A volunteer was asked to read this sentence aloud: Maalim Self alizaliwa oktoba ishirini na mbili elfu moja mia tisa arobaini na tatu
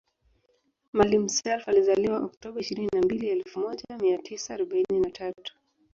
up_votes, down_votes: 1, 2